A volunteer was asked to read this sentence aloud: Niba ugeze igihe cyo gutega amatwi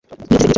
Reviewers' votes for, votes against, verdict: 1, 2, rejected